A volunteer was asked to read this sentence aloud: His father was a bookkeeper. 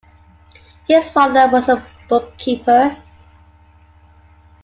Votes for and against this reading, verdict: 2, 0, accepted